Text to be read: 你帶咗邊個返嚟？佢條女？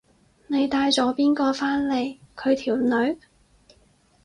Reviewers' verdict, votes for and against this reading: accepted, 4, 0